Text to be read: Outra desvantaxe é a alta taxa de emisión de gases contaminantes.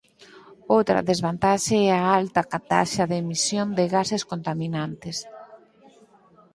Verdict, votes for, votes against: rejected, 2, 4